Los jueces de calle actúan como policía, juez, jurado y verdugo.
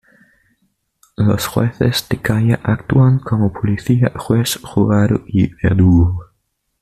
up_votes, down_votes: 2, 0